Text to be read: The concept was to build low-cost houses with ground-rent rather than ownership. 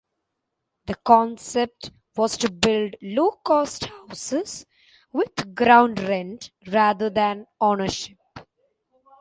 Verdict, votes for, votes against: accepted, 2, 0